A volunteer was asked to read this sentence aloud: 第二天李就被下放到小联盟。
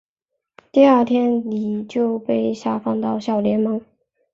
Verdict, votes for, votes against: accepted, 3, 0